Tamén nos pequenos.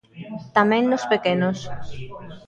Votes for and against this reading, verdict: 2, 0, accepted